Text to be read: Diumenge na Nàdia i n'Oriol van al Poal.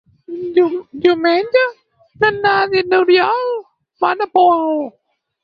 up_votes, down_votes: 0, 4